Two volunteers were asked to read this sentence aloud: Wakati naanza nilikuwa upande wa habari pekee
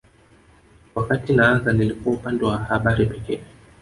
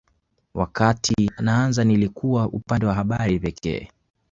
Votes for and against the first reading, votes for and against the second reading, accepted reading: 2, 3, 2, 0, second